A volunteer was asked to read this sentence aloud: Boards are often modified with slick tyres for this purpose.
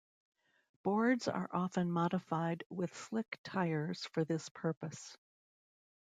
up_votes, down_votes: 1, 2